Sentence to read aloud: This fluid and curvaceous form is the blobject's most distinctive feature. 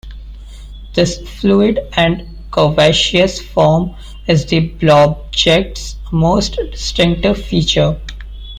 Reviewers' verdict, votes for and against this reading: accepted, 2, 1